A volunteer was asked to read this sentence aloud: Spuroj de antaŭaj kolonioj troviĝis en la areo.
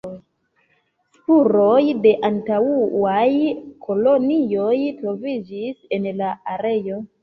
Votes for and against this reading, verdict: 2, 1, accepted